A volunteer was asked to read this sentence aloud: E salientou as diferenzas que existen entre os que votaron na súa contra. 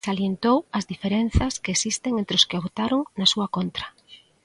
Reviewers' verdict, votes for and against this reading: rejected, 0, 2